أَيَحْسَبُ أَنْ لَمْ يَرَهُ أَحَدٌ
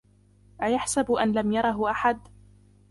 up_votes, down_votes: 1, 2